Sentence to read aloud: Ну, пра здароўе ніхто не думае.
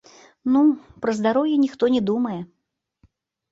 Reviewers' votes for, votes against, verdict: 1, 2, rejected